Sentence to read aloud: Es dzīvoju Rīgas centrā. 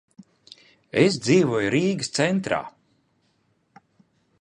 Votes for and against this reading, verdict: 2, 0, accepted